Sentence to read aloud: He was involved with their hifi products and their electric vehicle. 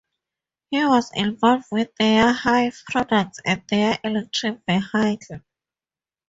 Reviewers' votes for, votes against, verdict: 0, 2, rejected